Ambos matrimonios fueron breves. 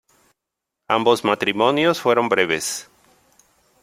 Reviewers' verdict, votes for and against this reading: accepted, 2, 1